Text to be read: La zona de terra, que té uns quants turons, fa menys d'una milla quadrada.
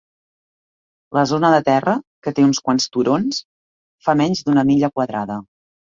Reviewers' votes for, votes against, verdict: 3, 0, accepted